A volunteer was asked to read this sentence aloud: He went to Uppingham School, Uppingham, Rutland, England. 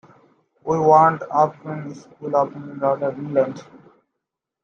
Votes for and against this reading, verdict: 0, 2, rejected